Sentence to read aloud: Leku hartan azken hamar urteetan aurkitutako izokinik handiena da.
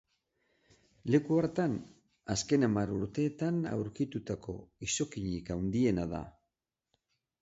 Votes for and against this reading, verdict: 6, 0, accepted